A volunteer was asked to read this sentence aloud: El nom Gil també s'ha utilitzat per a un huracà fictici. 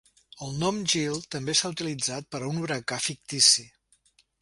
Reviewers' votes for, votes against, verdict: 2, 0, accepted